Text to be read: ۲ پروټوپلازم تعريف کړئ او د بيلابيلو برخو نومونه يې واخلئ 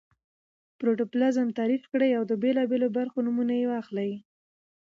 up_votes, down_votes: 0, 2